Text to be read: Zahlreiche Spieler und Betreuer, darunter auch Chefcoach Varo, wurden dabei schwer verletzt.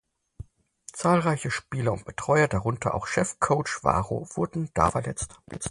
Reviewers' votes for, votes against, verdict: 0, 4, rejected